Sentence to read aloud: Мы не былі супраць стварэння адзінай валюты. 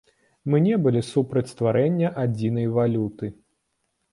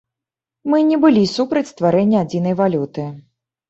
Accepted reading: second